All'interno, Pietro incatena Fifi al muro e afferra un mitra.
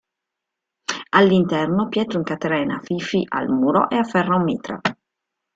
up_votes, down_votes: 0, 2